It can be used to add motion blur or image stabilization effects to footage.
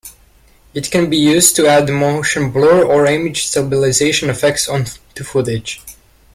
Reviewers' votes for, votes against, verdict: 4, 1, accepted